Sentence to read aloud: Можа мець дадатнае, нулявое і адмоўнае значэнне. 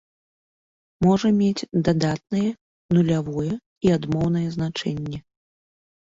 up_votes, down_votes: 2, 0